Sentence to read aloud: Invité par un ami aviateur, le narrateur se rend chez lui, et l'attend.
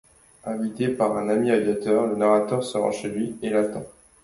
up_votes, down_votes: 2, 0